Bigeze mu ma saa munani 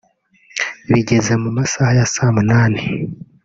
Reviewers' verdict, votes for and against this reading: rejected, 1, 2